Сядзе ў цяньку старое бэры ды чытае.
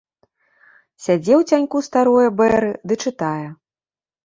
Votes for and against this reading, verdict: 1, 2, rejected